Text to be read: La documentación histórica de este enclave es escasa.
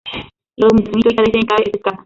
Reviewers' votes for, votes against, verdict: 0, 2, rejected